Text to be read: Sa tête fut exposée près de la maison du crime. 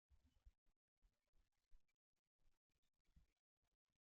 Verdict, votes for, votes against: rejected, 0, 2